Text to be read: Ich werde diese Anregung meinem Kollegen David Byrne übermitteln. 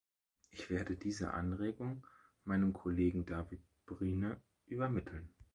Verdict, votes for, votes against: rejected, 1, 3